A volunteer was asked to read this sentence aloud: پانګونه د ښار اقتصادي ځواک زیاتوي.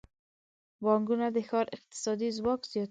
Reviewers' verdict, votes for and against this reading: rejected, 1, 2